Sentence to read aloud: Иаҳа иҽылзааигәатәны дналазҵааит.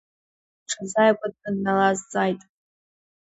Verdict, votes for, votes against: rejected, 1, 2